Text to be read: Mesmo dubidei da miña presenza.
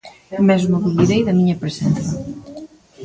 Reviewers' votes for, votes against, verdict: 2, 0, accepted